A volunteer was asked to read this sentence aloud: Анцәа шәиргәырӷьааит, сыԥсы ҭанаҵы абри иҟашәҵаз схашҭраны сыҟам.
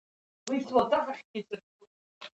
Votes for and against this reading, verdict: 1, 3, rejected